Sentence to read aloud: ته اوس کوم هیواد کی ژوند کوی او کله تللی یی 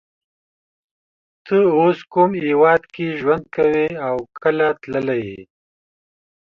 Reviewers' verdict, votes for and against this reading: accepted, 2, 0